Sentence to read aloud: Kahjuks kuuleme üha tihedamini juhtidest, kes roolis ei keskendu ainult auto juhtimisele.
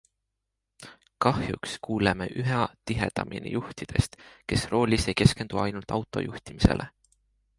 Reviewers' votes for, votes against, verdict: 2, 0, accepted